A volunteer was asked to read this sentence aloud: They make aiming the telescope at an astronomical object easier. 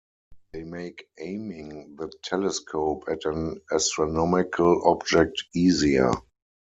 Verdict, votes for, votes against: accepted, 4, 2